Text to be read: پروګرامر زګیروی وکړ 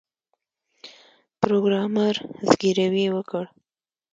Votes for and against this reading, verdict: 2, 0, accepted